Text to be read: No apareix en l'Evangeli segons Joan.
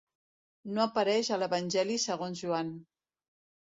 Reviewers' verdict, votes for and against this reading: rejected, 1, 2